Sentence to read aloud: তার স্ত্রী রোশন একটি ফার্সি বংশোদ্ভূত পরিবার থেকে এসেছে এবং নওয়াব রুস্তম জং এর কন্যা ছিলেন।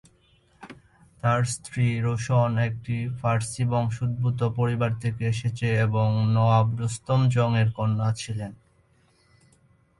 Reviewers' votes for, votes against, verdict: 2, 0, accepted